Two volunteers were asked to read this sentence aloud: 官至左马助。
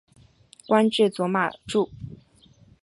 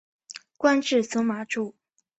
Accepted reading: first